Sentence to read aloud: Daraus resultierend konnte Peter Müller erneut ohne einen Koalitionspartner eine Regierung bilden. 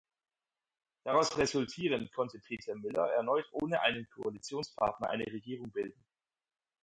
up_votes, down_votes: 4, 0